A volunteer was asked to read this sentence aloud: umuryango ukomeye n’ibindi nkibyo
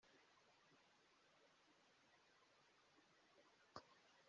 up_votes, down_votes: 1, 2